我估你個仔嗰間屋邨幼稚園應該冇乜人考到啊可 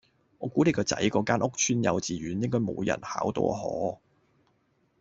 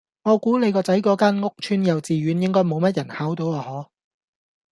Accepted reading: second